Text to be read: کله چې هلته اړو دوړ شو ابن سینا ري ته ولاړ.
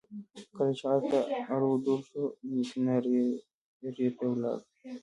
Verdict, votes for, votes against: rejected, 1, 2